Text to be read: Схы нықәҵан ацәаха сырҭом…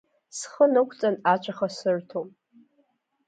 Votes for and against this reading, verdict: 2, 0, accepted